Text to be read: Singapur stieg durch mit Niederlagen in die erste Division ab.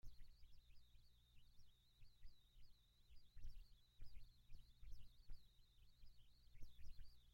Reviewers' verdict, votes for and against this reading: rejected, 0, 2